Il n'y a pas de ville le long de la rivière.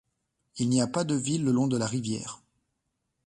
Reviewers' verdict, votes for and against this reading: accepted, 2, 0